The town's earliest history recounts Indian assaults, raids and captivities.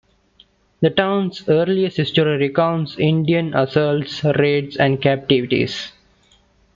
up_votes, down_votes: 2, 1